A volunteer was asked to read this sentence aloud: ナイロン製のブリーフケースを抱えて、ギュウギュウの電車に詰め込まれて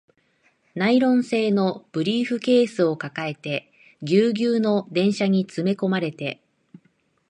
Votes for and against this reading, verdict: 2, 0, accepted